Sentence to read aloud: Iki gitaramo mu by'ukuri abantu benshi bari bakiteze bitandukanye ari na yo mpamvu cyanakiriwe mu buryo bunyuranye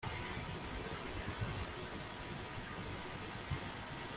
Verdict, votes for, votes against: rejected, 0, 2